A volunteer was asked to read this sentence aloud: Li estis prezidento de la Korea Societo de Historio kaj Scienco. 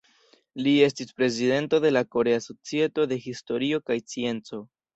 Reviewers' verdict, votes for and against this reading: rejected, 1, 2